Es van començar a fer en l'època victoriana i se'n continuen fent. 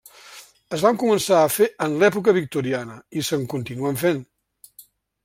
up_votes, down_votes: 3, 0